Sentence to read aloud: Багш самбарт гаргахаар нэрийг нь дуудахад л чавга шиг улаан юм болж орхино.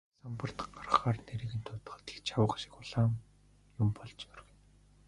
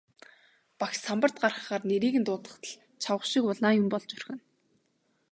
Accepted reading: second